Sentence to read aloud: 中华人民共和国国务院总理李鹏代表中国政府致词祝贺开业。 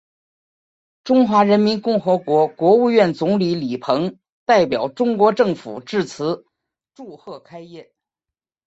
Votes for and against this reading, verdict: 3, 2, accepted